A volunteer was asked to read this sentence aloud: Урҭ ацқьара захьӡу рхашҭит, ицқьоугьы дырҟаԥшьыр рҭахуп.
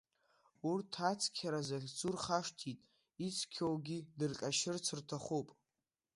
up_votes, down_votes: 2, 0